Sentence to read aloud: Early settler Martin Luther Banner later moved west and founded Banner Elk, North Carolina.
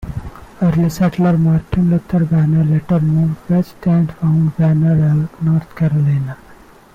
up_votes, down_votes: 0, 2